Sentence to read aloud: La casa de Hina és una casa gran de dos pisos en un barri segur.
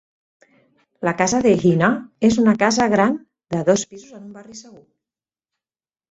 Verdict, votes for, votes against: rejected, 0, 4